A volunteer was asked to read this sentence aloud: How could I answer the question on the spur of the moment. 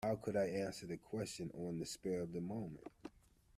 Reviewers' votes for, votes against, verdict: 2, 1, accepted